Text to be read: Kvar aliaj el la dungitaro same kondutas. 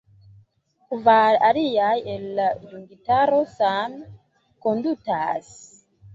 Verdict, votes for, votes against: rejected, 0, 2